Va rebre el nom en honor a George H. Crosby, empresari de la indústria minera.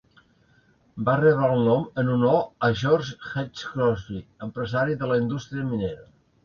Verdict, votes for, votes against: rejected, 1, 2